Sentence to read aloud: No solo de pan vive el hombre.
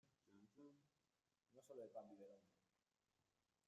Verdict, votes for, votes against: rejected, 0, 2